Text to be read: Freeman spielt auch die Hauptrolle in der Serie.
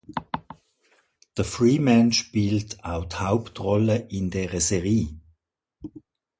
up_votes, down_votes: 0, 2